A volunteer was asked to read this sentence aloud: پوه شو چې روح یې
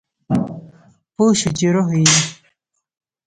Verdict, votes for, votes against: rejected, 1, 2